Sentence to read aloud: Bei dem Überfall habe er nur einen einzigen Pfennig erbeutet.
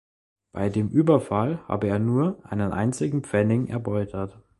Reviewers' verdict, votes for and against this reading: rejected, 1, 2